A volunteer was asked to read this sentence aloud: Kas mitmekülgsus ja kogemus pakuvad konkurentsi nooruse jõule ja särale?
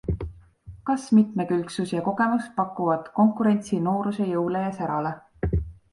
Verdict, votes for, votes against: accepted, 2, 0